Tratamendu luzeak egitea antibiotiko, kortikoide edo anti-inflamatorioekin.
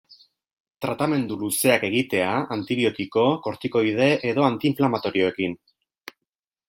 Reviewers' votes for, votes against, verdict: 2, 0, accepted